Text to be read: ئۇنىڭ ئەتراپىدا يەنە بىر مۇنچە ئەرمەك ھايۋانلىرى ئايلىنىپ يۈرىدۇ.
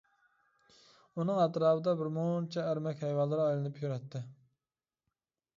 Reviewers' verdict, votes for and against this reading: rejected, 0, 2